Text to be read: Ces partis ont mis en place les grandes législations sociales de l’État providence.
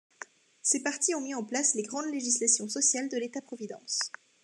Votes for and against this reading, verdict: 2, 0, accepted